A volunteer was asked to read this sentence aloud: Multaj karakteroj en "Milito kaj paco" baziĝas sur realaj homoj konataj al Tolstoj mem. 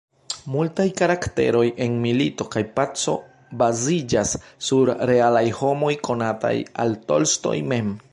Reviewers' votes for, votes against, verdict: 1, 2, rejected